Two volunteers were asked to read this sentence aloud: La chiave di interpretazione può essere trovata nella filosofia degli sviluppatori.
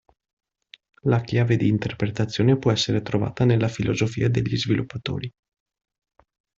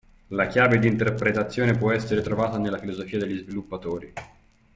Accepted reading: first